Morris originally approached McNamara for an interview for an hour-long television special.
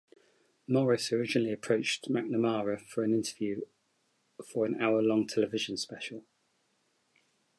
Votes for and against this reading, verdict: 2, 0, accepted